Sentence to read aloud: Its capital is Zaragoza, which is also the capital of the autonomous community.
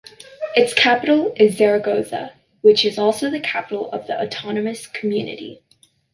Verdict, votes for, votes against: accepted, 2, 0